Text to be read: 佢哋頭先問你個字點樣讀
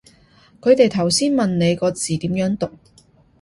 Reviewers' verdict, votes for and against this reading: accepted, 2, 0